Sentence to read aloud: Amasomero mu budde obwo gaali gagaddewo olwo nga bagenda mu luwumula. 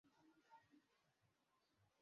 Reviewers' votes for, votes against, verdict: 0, 2, rejected